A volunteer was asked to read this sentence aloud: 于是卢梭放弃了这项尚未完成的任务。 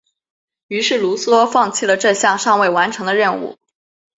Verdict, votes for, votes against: accepted, 3, 1